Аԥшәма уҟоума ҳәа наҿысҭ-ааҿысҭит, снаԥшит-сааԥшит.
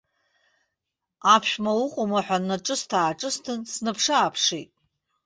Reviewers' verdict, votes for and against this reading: rejected, 0, 2